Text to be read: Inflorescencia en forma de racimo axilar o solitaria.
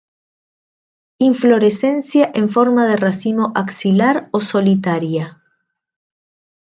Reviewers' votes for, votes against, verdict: 2, 0, accepted